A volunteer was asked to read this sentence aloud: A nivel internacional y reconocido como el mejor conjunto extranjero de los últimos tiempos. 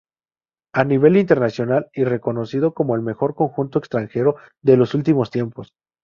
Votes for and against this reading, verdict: 2, 0, accepted